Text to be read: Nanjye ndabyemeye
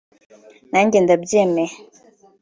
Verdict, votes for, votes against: accepted, 3, 0